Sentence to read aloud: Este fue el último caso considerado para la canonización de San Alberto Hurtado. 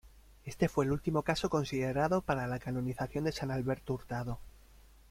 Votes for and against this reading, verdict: 2, 0, accepted